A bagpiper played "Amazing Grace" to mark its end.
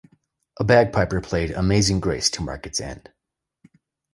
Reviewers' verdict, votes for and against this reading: accepted, 2, 0